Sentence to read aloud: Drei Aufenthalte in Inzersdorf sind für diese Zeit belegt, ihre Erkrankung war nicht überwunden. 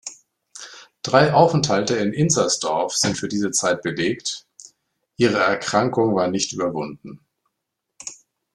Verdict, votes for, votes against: accepted, 2, 0